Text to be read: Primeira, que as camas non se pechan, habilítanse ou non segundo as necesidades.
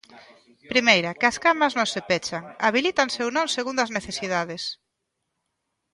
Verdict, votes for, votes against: accepted, 2, 0